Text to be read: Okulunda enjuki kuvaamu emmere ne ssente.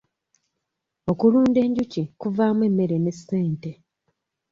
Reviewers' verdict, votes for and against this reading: accepted, 2, 0